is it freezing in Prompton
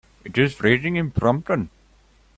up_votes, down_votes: 1, 2